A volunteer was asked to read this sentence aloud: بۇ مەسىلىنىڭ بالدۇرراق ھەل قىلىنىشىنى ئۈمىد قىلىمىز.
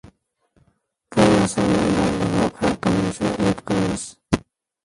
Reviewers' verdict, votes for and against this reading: rejected, 0, 2